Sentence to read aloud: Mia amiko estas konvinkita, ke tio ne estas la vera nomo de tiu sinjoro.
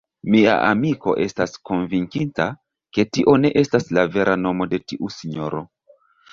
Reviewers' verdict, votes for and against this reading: accepted, 2, 0